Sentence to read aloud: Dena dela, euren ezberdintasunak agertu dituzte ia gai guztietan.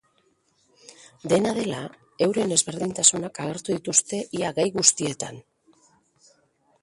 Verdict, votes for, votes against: accepted, 2, 0